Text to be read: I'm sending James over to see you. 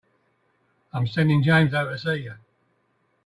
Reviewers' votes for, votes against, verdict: 2, 0, accepted